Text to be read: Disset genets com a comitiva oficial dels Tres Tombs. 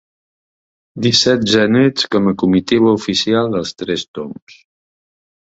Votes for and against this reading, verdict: 2, 0, accepted